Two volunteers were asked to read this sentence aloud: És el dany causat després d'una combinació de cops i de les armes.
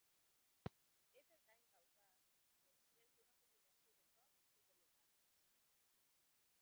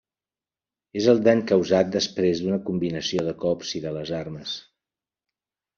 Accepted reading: second